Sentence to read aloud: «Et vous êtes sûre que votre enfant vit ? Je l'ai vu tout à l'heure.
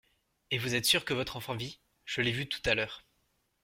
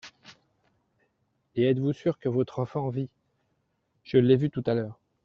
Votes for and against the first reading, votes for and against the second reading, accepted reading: 2, 0, 0, 2, first